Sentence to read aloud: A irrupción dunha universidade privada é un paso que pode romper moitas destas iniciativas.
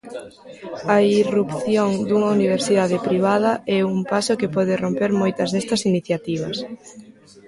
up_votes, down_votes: 0, 2